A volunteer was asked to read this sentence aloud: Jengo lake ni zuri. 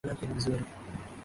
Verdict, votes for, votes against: rejected, 0, 2